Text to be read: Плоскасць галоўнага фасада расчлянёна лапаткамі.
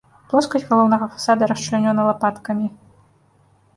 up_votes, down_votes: 2, 0